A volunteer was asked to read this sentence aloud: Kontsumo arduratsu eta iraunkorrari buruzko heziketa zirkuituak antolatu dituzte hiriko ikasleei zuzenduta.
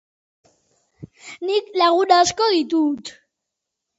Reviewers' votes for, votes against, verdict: 0, 2, rejected